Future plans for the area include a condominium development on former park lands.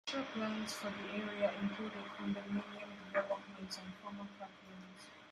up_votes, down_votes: 0, 2